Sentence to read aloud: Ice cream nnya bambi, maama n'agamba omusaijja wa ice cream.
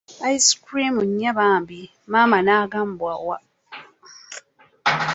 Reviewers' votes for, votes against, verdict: 0, 2, rejected